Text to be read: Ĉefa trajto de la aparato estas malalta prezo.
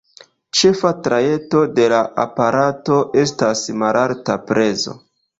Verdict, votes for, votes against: rejected, 1, 2